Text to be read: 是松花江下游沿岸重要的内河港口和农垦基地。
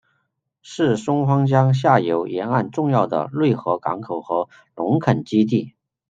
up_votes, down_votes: 2, 0